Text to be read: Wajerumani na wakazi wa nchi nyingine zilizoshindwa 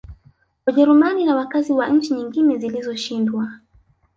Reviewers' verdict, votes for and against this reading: rejected, 0, 2